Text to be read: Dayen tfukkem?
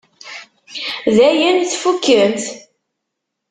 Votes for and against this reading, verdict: 1, 2, rejected